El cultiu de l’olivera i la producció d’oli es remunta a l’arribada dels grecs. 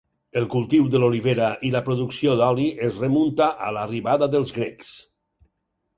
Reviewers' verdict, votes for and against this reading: accepted, 4, 0